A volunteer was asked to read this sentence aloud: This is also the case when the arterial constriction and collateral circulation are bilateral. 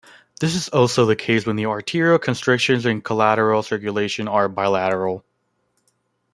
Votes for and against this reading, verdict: 2, 0, accepted